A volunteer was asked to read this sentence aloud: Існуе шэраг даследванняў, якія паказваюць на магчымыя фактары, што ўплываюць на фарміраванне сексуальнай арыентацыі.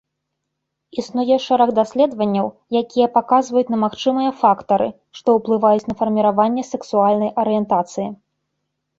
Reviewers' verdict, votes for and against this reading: accepted, 2, 0